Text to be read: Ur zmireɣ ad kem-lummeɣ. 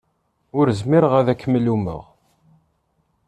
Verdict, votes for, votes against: accepted, 2, 0